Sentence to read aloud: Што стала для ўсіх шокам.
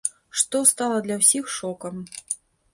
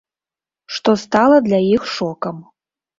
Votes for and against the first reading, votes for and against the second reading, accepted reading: 2, 0, 0, 2, first